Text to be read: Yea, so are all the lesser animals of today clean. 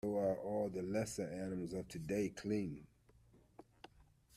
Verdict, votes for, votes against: rejected, 1, 2